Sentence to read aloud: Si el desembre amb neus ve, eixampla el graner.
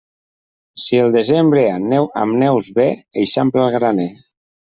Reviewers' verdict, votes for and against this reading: rejected, 0, 2